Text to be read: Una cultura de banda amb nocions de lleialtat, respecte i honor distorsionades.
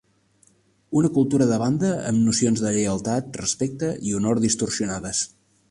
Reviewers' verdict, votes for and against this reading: rejected, 1, 2